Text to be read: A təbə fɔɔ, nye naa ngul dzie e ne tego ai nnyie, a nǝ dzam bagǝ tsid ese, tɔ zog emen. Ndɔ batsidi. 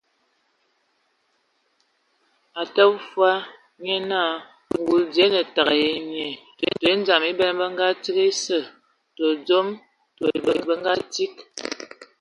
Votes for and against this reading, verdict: 0, 2, rejected